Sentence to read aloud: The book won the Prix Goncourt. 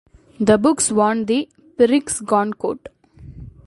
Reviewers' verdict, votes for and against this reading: rejected, 0, 2